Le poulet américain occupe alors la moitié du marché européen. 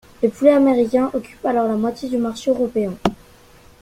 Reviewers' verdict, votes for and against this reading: accepted, 2, 1